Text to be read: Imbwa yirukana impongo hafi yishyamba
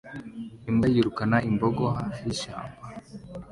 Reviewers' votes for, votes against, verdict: 2, 1, accepted